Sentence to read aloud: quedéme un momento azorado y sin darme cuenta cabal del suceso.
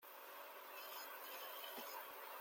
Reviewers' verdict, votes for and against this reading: rejected, 0, 2